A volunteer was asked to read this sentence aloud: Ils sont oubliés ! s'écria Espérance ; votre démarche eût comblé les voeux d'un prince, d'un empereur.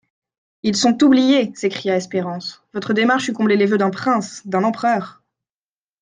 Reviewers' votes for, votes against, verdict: 2, 1, accepted